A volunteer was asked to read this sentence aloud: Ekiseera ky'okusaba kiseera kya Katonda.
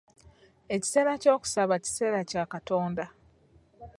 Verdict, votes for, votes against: accepted, 2, 1